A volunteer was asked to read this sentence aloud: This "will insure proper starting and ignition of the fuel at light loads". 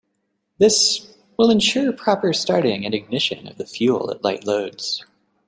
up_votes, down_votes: 2, 0